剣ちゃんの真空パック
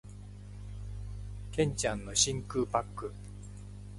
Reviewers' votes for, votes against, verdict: 2, 0, accepted